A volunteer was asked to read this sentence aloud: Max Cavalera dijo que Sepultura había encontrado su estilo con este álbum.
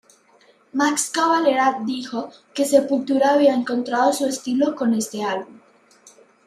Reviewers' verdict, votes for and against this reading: accepted, 3, 0